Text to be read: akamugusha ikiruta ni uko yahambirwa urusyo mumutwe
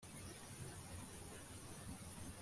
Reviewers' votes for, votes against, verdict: 0, 2, rejected